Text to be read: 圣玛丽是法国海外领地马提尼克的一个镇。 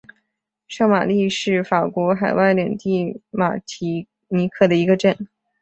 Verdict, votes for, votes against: rejected, 3, 3